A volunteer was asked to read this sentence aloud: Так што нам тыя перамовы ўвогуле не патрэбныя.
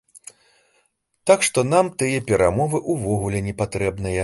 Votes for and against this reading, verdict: 2, 0, accepted